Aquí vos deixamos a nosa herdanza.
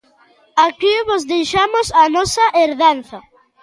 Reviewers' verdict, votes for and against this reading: accepted, 2, 0